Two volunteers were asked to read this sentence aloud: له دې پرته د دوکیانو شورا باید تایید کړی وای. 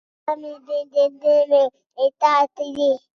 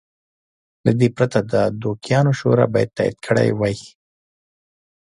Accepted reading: second